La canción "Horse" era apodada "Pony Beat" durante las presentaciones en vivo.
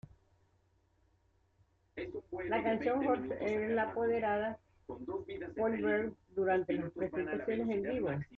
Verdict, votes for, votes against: rejected, 0, 2